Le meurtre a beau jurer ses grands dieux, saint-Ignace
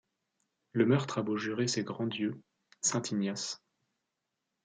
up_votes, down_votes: 2, 0